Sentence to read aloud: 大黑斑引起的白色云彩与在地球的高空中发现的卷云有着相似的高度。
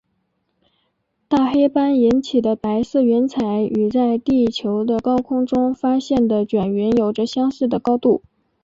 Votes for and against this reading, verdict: 2, 0, accepted